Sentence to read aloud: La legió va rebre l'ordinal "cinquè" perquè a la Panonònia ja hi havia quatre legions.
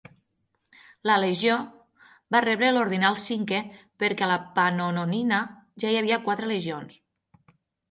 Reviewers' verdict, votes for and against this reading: rejected, 3, 6